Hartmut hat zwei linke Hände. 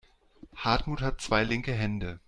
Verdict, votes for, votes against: accepted, 2, 0